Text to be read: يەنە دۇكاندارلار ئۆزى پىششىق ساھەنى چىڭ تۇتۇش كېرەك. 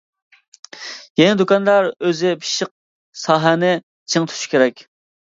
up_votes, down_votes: 0, 2